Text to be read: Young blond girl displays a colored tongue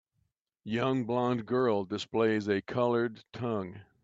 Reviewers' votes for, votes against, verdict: 2, 0, accepted